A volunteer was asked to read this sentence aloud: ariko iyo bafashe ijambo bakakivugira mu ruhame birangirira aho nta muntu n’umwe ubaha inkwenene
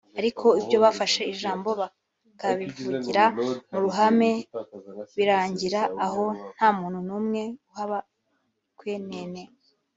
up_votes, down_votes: 1, 2